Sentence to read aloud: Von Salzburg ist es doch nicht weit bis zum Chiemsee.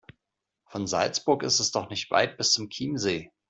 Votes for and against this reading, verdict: 2, 0, accepted